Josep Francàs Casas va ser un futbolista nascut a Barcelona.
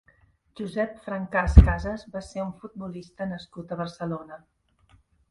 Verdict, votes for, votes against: accepted, 2, 0